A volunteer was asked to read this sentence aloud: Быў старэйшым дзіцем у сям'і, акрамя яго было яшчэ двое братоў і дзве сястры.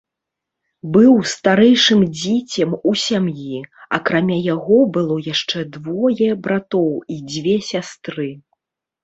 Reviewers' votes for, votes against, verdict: 1, 2, rejected